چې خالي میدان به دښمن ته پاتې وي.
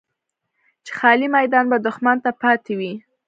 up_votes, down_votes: 2, 1